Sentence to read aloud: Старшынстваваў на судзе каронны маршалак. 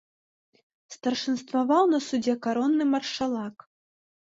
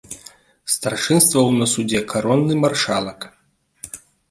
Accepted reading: second